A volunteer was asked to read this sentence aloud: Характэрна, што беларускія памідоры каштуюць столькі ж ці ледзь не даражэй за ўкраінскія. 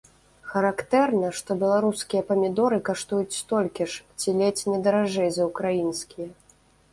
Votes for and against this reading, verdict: 1, 2, rejected